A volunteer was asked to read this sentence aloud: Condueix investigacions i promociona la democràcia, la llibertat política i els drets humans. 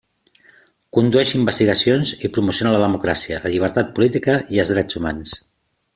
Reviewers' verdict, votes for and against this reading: accepted, 3, 0